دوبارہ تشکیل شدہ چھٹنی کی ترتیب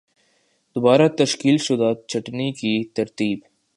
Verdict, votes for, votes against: accepted, 2, 1